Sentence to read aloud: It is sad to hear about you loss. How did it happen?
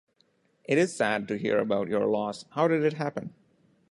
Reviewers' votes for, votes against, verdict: 0, 2, rejected